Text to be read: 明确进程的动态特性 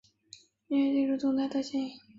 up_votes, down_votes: 0, 3